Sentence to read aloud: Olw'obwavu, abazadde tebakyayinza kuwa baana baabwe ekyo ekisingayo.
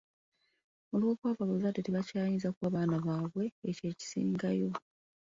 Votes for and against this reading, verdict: 2, 1, accepted